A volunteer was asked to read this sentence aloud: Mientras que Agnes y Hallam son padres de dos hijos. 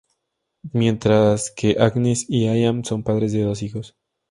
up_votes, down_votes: 0, 2